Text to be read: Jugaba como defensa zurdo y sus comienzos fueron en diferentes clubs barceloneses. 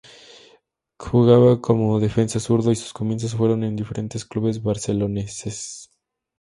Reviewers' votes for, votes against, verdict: 0, 2, rejected